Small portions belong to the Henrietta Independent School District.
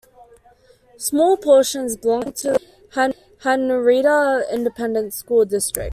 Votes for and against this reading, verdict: 0, 2, rejected